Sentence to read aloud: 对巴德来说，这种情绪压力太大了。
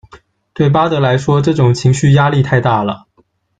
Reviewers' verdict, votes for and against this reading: accepted, 2, 0